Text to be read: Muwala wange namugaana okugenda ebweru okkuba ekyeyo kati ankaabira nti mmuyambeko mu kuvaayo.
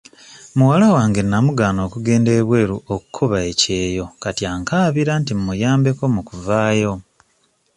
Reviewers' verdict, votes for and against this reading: accepted, 2, 0